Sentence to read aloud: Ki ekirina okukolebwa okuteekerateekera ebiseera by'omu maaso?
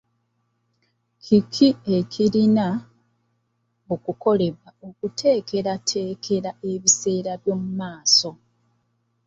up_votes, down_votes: 1, 2